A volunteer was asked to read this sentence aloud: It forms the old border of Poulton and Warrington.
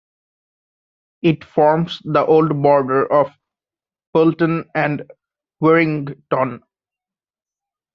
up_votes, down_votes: 2, 1